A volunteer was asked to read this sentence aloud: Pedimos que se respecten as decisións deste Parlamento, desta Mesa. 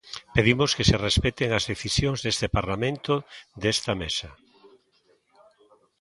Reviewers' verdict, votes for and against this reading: rejected, 1, 2